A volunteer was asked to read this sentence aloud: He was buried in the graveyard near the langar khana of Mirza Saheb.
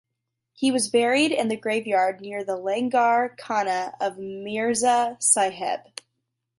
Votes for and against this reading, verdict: 2, 1, accepted